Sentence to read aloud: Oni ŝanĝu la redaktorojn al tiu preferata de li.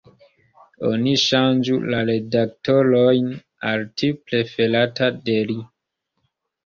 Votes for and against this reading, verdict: 1, 3, rejected